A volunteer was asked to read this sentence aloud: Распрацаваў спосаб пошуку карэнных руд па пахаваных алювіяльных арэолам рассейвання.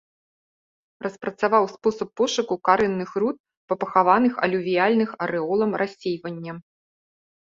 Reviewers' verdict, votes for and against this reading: accepted, 2, 0